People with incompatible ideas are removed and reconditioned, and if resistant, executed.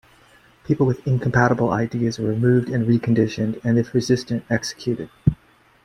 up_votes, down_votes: 2, 0